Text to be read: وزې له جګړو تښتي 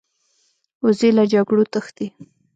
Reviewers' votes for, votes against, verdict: 1, 2, rejected